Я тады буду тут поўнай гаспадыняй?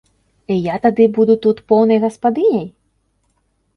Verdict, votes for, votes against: accepted, 2, 0